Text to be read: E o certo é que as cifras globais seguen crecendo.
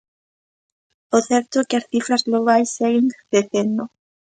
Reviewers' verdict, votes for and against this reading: rejected, 0, 2